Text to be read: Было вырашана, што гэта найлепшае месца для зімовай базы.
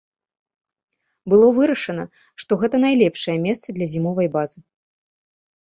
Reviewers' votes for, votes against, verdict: 2, 0, accepted